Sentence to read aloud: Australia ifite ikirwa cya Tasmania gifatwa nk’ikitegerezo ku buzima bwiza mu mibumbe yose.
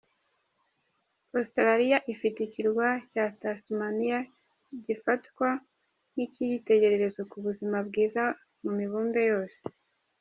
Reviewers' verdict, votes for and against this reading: rejected, 0, 2